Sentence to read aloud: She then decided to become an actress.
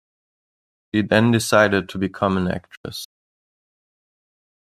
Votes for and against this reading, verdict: 1, 2, rejected